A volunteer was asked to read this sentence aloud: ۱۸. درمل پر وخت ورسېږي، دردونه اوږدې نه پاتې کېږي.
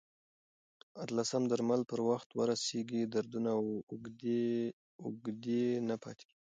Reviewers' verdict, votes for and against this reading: rejected, 0, 2